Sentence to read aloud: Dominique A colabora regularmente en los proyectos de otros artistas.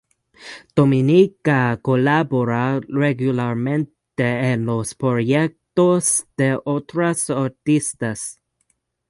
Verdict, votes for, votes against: rejected, 0, 2